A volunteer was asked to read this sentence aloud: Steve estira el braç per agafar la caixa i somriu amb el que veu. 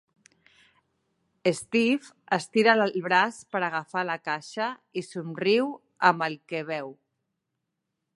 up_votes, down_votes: 0, 3